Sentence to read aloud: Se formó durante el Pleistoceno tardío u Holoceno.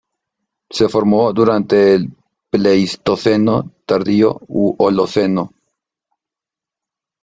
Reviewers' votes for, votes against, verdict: 0, 2, rejected